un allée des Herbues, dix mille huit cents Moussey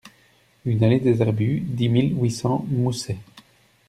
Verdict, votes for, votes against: rejected, 0, 2